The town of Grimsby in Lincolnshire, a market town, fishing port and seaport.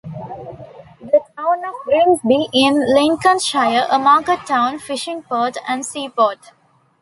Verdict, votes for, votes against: accepted, 2, 0